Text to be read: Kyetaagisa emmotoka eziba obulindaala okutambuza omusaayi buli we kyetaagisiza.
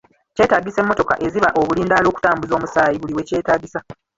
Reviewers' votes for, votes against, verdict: 0, 2, rejected